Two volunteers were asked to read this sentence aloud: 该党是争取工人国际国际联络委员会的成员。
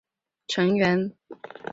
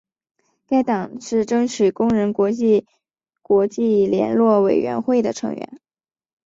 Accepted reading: second